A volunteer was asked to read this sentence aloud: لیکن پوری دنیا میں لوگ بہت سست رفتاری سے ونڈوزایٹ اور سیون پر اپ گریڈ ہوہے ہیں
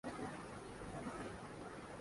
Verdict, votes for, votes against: rejected, 0, 2